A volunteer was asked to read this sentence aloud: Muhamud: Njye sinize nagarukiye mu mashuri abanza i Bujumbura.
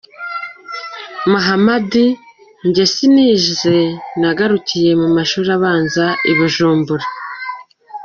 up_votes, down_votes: 1, 2